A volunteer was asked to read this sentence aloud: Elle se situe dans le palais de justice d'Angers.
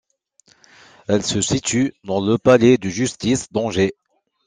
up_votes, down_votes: 2, 1